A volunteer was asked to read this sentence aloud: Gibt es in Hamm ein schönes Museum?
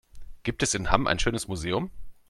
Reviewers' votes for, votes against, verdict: 2, 0, accepted